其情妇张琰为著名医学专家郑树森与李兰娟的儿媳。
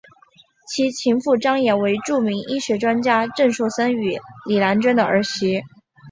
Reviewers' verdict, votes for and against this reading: accepted, 3, 0